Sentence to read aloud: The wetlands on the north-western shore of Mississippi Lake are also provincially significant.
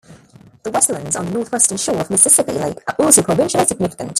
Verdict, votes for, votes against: rejected, 1, 2